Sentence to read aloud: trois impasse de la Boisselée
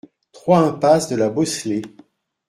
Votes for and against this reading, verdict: 1, 2, rejected